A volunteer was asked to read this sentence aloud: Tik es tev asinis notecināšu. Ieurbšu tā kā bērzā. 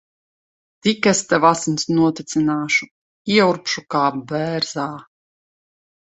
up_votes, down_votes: 0, 2